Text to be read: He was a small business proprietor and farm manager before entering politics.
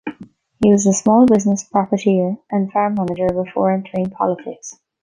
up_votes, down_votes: 1, 2